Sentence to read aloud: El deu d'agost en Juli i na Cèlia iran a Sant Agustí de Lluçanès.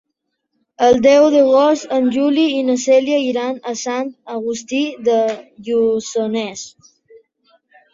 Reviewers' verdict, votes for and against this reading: accepted, 3, 1